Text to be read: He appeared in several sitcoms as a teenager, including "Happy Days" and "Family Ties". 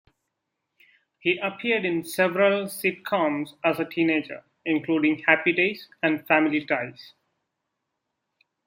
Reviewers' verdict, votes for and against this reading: accepted, 2, 0